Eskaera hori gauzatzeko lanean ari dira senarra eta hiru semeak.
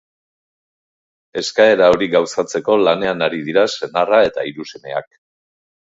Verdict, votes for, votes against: accepted, 6, 0